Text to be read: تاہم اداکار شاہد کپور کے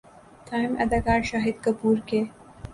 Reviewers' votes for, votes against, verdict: 2, 0, accepted